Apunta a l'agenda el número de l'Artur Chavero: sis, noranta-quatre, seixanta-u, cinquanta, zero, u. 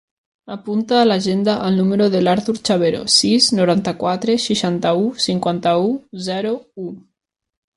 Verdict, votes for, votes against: rejected, 0, 2